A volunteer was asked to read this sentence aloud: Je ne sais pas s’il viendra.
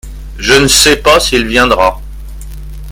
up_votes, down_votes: 2, 0